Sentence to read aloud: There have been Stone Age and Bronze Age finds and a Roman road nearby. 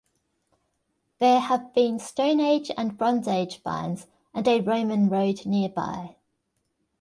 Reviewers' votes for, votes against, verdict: 2, 0, accepted